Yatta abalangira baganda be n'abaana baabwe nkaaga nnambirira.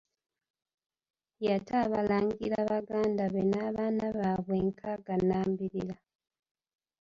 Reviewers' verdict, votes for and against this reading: rejected, 0, 2